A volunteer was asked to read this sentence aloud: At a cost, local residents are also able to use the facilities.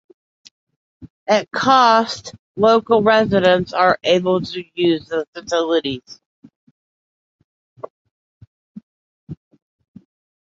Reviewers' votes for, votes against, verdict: 2, 0, accepted